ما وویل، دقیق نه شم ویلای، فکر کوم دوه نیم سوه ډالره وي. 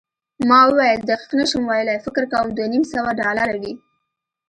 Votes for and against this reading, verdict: 2, 1, accepted